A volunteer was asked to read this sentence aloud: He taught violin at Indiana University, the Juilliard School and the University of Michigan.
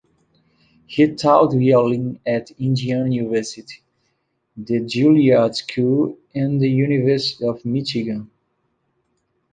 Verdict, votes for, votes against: rejected, 1, 2